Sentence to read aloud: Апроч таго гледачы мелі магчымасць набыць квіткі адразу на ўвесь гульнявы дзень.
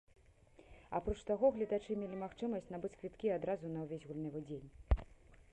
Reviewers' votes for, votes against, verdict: 2, 0, accepted